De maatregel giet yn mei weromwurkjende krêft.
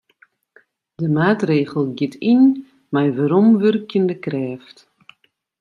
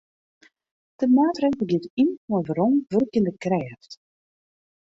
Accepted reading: first